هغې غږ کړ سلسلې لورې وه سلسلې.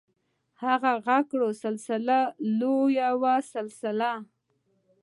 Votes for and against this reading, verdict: 1, 2, rejected